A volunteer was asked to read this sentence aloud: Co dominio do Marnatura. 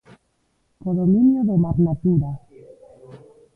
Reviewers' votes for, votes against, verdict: 0, 2, rejected